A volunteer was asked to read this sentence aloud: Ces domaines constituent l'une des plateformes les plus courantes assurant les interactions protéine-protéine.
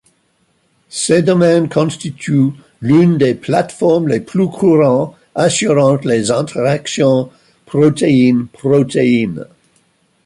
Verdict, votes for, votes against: rejected, 0, 2